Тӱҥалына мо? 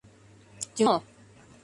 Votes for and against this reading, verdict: 0, 2, rejected